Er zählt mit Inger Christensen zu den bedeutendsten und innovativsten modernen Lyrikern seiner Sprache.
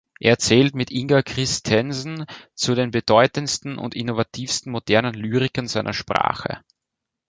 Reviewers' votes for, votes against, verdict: 2, 0, accepted